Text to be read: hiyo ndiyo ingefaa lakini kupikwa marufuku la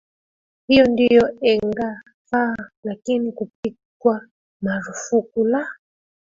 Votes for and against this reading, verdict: 2, 0, accepted